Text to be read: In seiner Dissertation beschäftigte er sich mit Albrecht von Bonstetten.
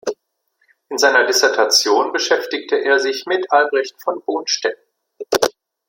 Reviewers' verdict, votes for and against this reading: accepted, 2, 0